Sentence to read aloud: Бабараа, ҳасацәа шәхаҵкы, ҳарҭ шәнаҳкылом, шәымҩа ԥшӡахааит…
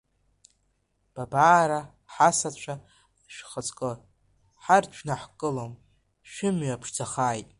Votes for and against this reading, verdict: 2, 1, accepted